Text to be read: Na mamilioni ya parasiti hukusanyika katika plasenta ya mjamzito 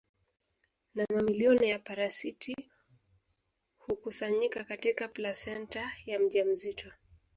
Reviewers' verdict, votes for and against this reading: rejected, 0, 2